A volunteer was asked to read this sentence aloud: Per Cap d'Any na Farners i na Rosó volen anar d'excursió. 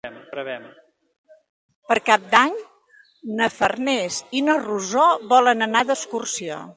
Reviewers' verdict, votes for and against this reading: rejected, 1, 2